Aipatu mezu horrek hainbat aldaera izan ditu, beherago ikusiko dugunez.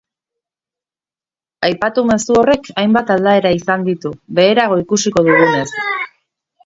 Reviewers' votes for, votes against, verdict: 0, 2, rejected